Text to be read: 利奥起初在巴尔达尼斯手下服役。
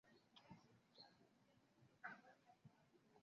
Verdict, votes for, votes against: rejected, 0, 3